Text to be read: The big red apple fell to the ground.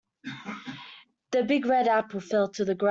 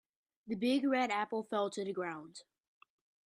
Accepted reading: second